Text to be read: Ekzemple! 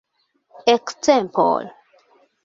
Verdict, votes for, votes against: rejected, 1, 2